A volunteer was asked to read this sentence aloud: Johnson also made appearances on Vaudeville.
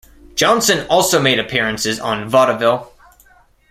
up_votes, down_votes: 1, 2